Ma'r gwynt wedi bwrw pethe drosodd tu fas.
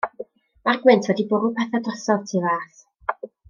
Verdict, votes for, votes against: accepted, 2, 0